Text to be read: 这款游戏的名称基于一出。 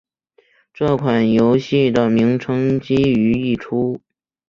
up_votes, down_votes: 4, 0